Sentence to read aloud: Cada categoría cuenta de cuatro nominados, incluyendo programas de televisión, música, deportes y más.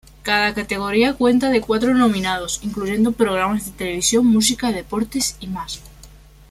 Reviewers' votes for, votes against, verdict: 2, 0, accepted